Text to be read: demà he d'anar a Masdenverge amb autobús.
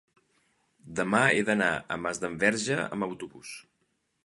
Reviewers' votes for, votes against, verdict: 2, 0, accepted